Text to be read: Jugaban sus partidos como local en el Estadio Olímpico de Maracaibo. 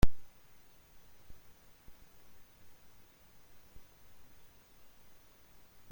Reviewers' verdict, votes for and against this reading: rejected, 0, 2